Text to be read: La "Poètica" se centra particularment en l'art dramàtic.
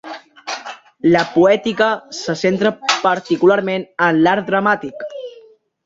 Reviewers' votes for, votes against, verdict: 3, 1, accepted